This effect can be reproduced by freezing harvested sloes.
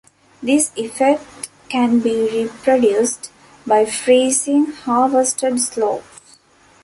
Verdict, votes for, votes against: accepted, 2, 0